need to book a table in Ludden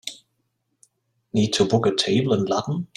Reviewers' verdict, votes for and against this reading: accepted, 2, 0